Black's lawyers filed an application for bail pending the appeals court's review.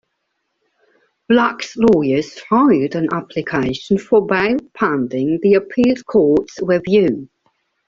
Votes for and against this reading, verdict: 0, 2, rejected